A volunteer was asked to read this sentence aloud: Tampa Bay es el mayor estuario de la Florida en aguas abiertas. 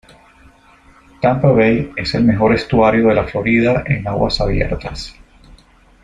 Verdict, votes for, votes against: rejected, 1, 2